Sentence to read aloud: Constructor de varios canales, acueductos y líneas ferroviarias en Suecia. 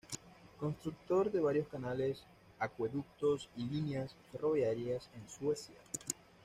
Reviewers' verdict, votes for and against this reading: accepted, 2, 0